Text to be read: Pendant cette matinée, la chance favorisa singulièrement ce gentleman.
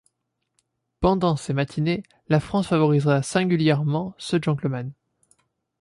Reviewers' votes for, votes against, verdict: 1, 2, rejected